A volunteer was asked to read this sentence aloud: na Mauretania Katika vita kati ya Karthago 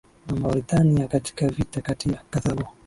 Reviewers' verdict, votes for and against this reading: accepted, 2, 1